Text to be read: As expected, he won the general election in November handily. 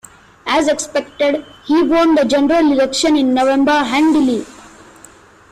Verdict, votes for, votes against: accepted, 2, 1